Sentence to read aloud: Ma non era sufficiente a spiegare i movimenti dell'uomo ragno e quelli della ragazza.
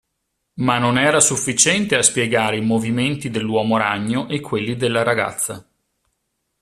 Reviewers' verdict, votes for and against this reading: accepted, 2, 0